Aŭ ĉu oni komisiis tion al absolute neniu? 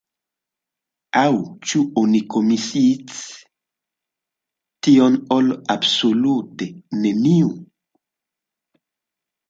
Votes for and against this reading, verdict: 0, 2, rejected